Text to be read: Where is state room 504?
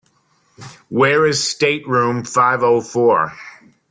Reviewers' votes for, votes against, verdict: 0, 2, rejected